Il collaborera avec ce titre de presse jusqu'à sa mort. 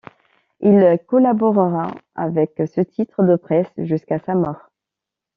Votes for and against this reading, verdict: 2, 0, accepted